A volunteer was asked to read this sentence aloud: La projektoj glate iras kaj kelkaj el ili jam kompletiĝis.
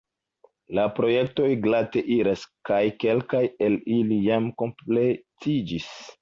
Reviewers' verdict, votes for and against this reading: accepted, 2, 0